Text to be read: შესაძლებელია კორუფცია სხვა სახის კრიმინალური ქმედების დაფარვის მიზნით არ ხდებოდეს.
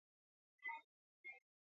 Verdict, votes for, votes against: rejected, 0, 2